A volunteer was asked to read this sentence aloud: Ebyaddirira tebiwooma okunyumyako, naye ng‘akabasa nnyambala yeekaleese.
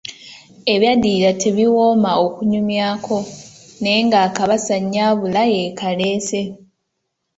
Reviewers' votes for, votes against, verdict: 2, 1, accepted